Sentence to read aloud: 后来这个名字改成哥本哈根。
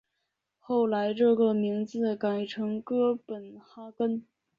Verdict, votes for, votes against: accepted, 2, 0